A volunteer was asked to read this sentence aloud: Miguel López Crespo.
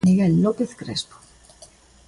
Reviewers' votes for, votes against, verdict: 2, 0, accepted